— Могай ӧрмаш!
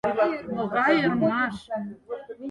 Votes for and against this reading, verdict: 0, 4, rejected